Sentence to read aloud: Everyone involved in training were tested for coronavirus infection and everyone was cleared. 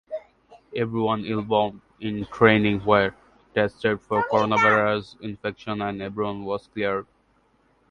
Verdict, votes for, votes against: rejected, 1, 2